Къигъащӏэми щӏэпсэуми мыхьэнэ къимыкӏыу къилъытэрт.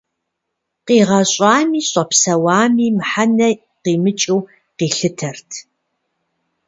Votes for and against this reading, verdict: 0, 2, rejected